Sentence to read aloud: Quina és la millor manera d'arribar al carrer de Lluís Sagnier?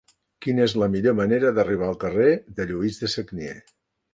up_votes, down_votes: 0, 2